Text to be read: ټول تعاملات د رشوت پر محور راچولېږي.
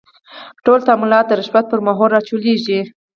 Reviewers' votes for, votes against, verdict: 0, 4, rejected